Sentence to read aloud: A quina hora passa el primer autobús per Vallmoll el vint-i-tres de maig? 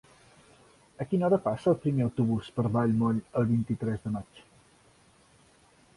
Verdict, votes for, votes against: accepted, 3, 0